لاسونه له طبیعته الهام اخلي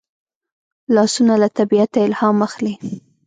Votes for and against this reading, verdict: 1, 2, rejected